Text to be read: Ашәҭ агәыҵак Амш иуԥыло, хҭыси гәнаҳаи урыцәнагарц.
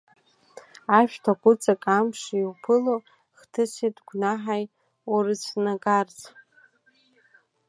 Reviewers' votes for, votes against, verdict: 2, 1, accepted